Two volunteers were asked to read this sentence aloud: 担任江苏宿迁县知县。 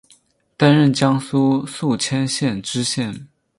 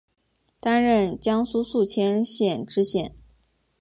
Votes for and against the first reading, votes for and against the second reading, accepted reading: 0, 2, 5, 0, second